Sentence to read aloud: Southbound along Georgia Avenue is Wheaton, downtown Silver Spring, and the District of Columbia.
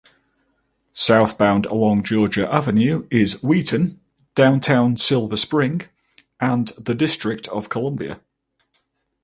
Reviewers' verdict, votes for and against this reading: accepted, 4, 0